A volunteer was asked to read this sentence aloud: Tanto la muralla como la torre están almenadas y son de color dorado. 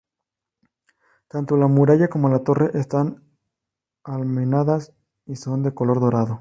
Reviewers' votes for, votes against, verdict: 2, 0, accepted